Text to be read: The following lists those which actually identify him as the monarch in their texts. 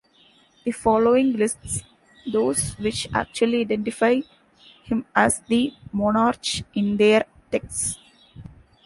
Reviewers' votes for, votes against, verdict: 1, 2, rejected